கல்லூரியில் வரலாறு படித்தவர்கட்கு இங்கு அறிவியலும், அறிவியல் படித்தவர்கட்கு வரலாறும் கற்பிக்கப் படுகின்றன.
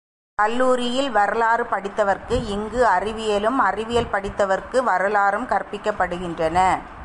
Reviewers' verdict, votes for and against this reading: accepted, 2, 0